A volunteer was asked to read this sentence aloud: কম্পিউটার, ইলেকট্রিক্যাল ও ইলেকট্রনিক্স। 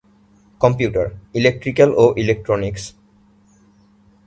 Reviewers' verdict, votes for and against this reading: accepted, 2, 0